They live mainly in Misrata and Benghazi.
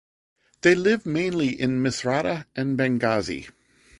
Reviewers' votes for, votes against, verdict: 2, 0, accepted